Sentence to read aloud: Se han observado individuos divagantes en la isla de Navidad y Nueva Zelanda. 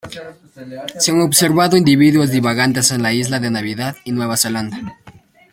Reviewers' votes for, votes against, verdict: 2, 0, accepted